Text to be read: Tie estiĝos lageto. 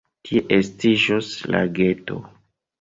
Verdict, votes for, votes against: accepted, 2, 1